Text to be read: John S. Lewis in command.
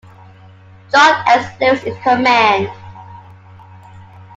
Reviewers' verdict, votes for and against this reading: rejected, 0, 2